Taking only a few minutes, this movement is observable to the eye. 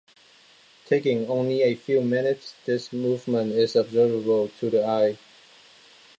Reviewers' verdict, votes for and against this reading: accepted, 2, 0